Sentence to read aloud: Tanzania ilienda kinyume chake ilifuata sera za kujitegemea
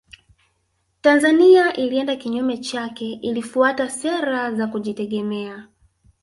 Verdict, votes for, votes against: rejected, 0, 2